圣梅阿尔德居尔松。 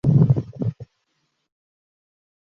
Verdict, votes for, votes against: rejected, 0, 2